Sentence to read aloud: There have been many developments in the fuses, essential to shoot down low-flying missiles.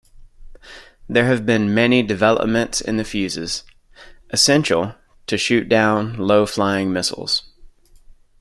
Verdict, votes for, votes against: accepted, 2, 1